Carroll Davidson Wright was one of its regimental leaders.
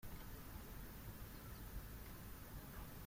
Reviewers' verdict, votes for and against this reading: rejected, 0, 2